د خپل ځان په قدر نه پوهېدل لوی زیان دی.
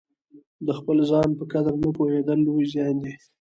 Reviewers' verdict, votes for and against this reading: accepted, 2, 1